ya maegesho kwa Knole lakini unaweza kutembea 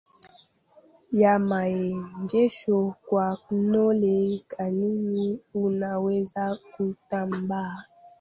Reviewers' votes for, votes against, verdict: 0, 2, rejected